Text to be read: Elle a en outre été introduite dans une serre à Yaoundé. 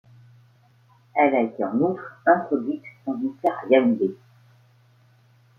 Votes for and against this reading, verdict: 2, 0, accepted